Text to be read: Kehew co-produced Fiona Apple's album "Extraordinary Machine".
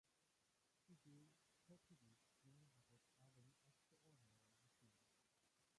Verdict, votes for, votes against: rejected, 0, 2